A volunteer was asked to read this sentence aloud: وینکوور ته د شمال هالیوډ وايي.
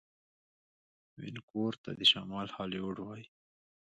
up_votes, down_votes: 1, 2